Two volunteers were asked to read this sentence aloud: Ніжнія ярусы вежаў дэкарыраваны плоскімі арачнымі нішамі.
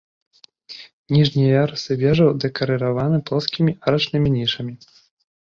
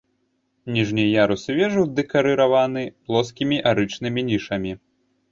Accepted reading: first